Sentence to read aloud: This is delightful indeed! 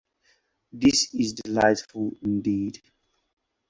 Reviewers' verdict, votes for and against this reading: rejected, 0, 4